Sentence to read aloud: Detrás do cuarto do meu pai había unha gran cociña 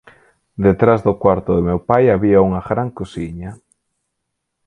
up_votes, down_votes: 4, 2